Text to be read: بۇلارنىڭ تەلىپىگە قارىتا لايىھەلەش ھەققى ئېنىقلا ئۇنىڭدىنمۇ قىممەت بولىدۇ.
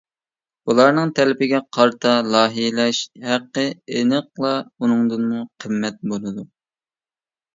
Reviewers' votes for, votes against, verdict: 0, 2, rejected